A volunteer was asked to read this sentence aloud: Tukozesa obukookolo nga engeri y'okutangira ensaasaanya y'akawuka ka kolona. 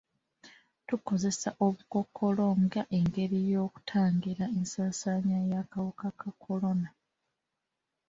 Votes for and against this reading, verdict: 2, 1, accepted